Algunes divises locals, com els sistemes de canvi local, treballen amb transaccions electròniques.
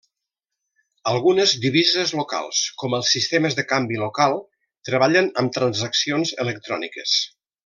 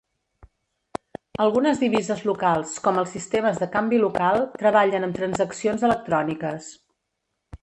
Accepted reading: first